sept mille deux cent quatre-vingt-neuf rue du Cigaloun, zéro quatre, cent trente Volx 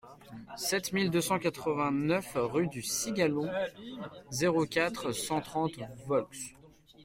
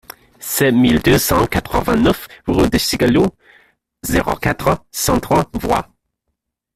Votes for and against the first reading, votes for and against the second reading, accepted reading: 2, 0, 0, 2, first